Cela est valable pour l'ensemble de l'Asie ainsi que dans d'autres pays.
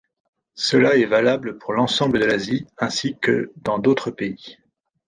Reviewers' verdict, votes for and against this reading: accepted, 2, 0